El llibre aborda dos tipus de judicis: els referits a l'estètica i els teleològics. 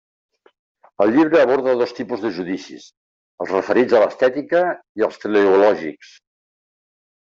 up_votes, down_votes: 3, 0